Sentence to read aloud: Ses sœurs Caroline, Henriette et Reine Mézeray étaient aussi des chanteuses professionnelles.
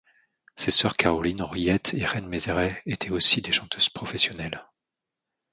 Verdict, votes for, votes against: accepted, 2, 0